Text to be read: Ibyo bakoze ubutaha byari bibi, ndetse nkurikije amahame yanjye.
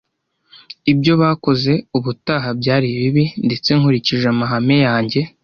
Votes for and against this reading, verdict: 3, 0, accepted